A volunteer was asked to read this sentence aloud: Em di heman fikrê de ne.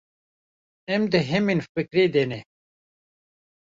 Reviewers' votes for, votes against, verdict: 0, 2, rejected